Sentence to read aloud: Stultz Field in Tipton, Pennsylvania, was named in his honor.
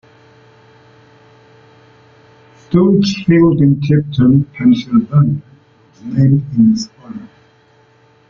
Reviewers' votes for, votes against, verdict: 1, 2, rejected